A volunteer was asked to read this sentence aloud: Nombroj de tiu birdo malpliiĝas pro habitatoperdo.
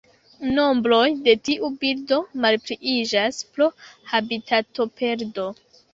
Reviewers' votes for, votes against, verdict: 2, 0, accepted